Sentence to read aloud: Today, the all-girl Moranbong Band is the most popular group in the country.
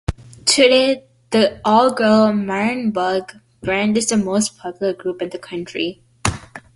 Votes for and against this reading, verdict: 0, 2, rejected